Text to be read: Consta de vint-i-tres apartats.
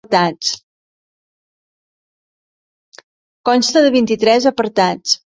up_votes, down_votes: 0, 2